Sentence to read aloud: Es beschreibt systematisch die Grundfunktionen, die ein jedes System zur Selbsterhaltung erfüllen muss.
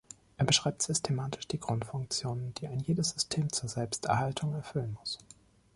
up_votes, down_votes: 0, 2